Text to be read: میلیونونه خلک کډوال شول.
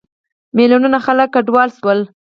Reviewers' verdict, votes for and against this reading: accepted, 4, 2